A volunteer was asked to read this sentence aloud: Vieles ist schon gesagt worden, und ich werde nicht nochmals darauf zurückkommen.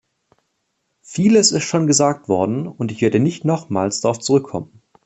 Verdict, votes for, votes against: accepted, 2, 0